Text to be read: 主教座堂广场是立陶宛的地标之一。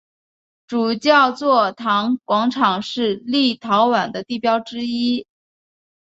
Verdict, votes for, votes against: accepted, 4, 0